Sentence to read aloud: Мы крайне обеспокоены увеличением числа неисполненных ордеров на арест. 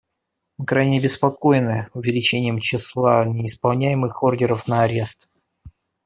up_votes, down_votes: 0, 2